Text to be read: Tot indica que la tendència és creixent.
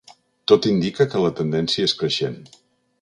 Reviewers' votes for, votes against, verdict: 3, 0, accepted